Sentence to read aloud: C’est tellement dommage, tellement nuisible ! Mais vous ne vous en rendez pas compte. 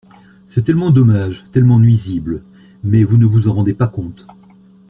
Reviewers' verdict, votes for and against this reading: accepted, 2, 0